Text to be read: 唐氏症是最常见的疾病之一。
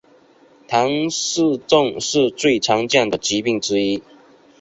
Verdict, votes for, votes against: accepted, 2, 0